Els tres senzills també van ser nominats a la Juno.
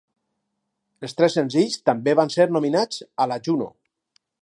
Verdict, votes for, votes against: accepted, 4, 0